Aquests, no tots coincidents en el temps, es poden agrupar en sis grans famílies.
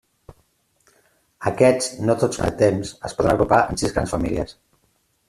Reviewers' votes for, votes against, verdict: 0, 2, rejected